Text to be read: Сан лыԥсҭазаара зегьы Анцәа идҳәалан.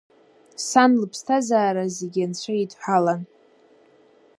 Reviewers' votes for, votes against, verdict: 2, 0, accepted